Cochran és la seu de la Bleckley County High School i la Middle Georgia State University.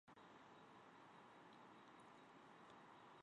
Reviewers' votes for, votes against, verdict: 0, 2, rejected